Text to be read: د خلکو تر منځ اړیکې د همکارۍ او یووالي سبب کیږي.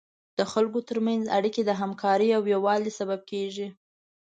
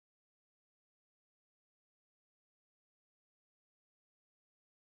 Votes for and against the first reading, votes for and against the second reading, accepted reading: 2, 0, 0, 2, first